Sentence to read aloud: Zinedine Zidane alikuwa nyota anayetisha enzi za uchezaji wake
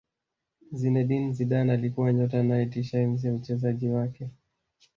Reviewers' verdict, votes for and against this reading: accepted, 2, 1